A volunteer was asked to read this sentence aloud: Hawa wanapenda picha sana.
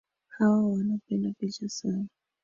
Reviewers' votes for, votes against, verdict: 1, 2, rejected